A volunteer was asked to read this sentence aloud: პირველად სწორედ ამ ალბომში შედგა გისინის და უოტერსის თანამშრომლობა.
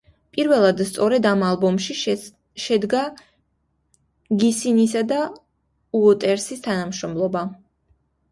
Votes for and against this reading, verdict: 1, 2, rejected